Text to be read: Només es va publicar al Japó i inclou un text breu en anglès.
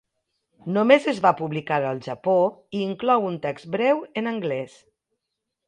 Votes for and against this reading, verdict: 2, 0, accepted